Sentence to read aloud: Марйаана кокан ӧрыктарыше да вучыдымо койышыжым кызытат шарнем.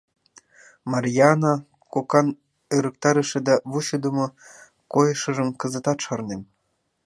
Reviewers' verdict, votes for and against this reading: rejected, 1, 3